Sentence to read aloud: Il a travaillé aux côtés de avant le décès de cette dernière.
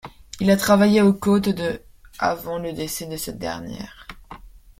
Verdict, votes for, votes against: rejected, 0, 2